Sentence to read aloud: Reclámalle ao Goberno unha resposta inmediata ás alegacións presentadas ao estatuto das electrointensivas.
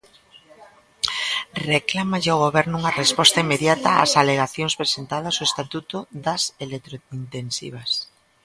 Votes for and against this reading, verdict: 1, 2, rejected